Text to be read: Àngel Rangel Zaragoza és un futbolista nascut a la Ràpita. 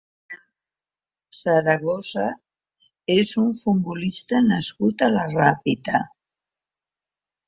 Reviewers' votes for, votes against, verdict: 0, 2, rejected